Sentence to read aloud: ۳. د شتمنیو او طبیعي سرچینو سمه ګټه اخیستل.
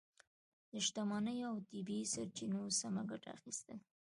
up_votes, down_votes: 0, 2